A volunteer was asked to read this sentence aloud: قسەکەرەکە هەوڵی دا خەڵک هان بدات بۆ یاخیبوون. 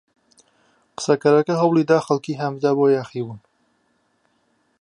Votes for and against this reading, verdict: 2, 0, accepted